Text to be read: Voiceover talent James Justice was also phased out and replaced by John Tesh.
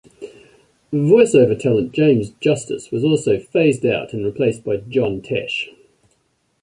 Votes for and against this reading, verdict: 2, 1, accepted